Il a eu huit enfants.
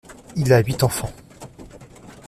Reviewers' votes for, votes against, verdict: 1, 2, rejected